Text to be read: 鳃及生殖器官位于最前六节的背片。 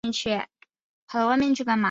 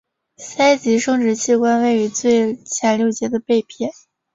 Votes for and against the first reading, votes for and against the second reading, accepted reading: 1, 2, 3, 1, second